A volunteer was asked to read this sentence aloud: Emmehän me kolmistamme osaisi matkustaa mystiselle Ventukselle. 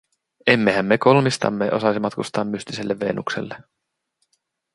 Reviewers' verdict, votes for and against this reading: rejected, 0, 2